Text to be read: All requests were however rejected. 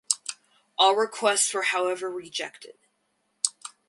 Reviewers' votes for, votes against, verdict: 4, 0, accepted